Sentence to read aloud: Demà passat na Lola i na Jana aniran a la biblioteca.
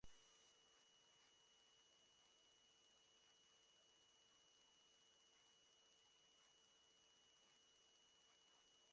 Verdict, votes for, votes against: rejected, 0, 2